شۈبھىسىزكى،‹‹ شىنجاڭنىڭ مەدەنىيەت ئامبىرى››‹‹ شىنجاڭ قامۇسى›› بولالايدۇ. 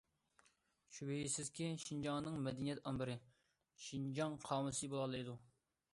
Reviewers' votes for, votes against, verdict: 0, 2, rejected